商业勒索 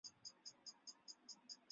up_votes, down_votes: 2, 3